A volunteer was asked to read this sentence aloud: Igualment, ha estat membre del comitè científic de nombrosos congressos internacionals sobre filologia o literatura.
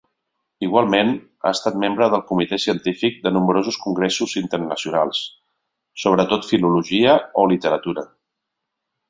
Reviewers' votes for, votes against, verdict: 1, 2, rejected